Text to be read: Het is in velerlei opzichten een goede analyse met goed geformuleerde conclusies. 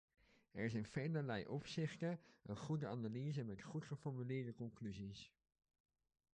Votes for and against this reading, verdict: 1, 2, rejected